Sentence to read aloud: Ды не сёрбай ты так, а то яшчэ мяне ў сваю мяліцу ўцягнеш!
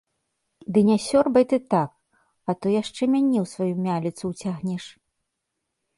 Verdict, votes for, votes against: rejected, 1, 2